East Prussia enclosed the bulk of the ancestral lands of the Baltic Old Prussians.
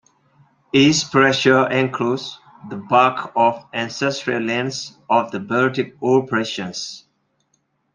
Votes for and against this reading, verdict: 0, 2, rejected